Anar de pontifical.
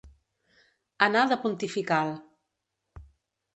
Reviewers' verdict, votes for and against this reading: accepted, 4, 0